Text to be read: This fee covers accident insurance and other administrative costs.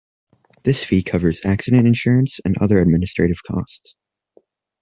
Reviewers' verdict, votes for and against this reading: accepted, 2, 0